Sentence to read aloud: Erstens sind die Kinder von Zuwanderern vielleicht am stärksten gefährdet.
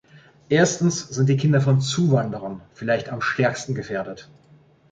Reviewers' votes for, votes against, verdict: 2, 0, accepted